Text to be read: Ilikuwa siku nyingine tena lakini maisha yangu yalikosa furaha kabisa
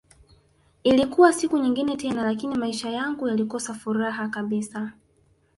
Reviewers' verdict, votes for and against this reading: rejected, 1, 2